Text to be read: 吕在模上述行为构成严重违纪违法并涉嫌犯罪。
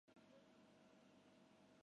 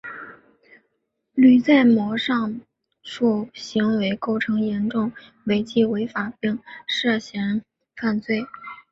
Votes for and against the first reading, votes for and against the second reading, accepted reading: 0, 3, 2, 1, second